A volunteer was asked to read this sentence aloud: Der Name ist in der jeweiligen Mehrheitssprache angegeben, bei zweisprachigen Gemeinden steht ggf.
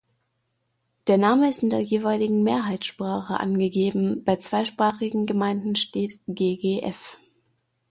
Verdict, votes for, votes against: accepted, 2, 0